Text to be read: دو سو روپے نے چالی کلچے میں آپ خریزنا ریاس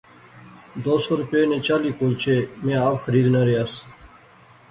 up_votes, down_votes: 3, 0